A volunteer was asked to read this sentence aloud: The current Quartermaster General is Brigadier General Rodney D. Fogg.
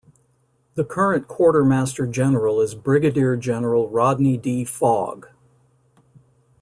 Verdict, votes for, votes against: accepted, 2, 0